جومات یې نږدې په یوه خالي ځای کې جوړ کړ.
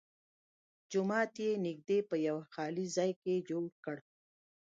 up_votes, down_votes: 2, 0